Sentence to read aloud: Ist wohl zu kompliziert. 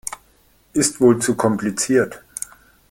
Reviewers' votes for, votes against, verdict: 2, 0, accepted